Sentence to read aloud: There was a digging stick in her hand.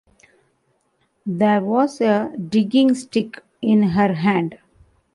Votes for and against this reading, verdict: 2, 0, accepted